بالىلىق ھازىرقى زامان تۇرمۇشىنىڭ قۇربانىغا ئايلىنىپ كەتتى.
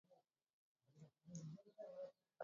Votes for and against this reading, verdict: 0, 2, rejected